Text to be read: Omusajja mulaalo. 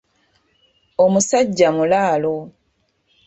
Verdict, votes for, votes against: rejected, 1, 2